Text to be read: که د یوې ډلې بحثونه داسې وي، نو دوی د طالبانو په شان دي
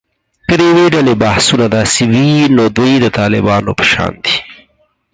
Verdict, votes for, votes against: accepted, 4, 0